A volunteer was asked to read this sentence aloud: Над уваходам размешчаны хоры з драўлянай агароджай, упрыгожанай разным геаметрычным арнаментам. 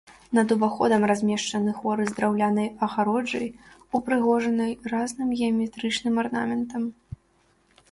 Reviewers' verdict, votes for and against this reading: rejected, 1, 2